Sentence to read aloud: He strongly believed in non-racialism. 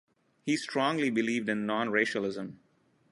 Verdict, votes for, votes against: accepted, 2, 0